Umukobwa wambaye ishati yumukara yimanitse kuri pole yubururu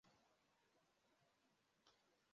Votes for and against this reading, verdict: 0, 2, rejected